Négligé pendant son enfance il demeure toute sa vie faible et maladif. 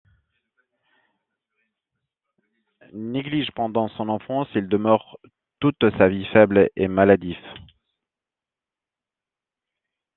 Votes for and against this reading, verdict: 0, 2, rejected